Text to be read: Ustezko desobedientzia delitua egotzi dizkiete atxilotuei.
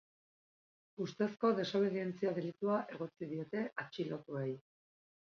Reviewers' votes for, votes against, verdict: 0, 2, rejected